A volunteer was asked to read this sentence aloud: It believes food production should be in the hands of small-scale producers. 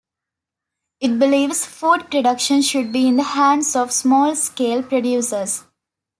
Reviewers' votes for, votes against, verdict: 2, 0, accepted